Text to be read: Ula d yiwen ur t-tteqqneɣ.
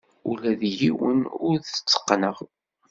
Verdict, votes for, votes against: accepted, 2, 0